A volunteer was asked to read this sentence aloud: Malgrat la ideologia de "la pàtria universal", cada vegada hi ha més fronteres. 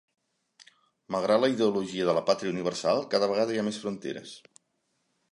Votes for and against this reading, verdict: 2, 0, accepted